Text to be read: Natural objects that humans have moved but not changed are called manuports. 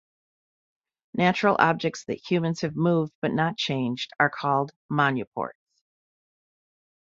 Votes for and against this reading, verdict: 1, 2, rejected